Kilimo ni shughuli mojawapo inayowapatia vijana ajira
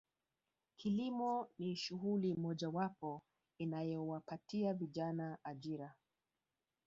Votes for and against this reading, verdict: 1, 2, rejected